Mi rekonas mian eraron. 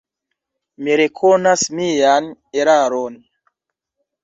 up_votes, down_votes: 2, 0